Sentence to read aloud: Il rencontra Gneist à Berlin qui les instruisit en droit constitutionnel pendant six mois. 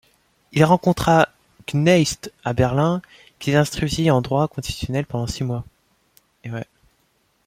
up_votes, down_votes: 0, 2